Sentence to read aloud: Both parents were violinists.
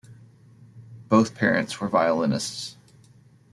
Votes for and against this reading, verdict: 1, 2, rejected